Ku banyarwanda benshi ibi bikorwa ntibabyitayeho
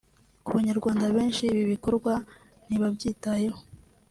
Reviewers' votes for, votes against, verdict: 2, 0, accepted